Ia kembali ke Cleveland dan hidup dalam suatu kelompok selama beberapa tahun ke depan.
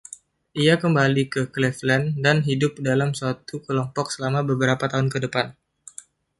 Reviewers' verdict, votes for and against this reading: accepted, 2, 1